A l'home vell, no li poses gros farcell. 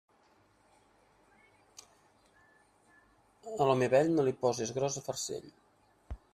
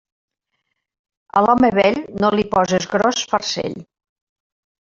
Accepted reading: second